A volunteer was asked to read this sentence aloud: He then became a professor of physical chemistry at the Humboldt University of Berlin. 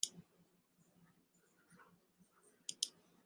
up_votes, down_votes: 0, 2